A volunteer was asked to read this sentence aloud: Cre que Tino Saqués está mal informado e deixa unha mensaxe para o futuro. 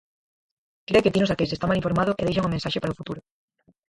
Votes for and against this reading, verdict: 0, 4, rejected